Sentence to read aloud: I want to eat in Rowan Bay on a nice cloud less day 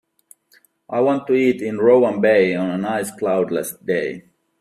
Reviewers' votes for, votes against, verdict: 2, 1, accepted